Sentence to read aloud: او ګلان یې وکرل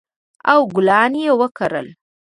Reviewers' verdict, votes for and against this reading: accepted, 2, 0